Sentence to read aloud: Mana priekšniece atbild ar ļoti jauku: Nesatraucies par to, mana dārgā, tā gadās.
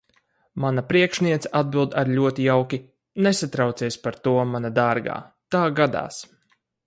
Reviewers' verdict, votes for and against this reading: rejected, 0, 4